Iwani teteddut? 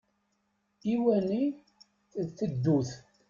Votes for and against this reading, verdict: 0, 2, rejected